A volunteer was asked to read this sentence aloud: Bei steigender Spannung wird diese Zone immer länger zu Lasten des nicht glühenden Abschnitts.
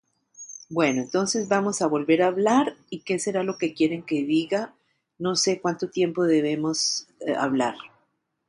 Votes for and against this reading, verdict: 0, 2, rejected